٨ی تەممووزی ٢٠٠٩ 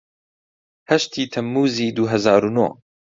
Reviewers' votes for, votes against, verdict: 0, 2, rejected